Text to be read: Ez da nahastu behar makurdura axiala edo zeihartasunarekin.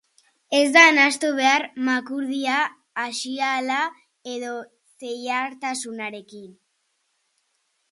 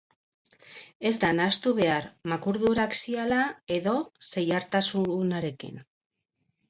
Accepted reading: second